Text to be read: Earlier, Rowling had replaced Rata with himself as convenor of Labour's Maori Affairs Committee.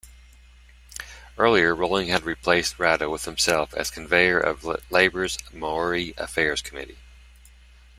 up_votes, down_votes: 1, 2